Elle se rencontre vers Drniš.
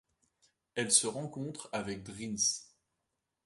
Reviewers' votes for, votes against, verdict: 1, 2, rejected